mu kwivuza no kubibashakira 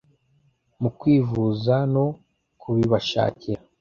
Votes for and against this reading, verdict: 2, 0, accepted